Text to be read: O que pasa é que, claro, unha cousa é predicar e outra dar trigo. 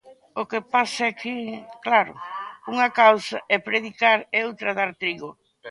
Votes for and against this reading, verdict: 0, 2, rejected